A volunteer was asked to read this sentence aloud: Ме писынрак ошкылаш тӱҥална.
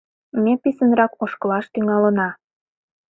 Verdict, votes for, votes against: rejected, 0, 2